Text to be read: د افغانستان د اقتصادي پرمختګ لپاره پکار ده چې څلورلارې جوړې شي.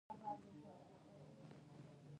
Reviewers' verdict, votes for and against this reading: rejected, 0, 2